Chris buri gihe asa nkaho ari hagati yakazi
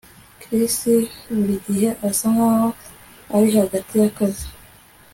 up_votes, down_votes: 2, 0